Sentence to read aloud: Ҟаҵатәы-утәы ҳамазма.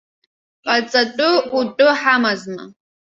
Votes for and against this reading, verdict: 1, 2, rejected